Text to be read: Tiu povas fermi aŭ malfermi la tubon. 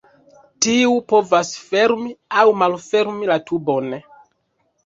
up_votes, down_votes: 2, 0